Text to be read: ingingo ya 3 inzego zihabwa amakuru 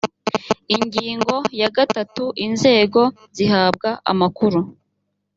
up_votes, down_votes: 0, 2